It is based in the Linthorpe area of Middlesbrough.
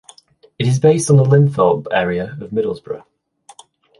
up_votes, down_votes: 2, 0